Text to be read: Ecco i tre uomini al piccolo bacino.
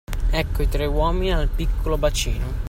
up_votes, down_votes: 2, 0